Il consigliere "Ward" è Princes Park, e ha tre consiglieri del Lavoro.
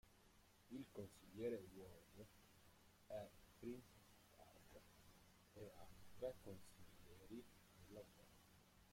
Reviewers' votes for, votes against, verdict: 0, 3, rejected